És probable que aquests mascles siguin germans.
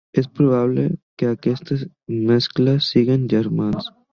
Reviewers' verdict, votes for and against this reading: accepted, 2, 1